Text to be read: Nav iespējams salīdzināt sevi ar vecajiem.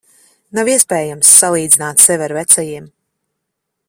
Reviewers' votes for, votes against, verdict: 2, 0, accepted